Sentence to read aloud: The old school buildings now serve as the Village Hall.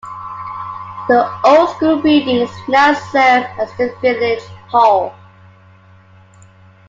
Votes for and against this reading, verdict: 2, 0, accepted